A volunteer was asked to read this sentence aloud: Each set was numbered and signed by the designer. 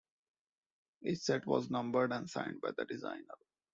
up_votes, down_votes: 2, 1